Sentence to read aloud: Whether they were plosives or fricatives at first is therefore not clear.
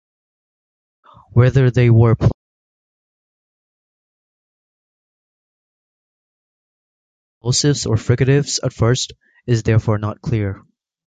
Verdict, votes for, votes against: rejected, 0, 2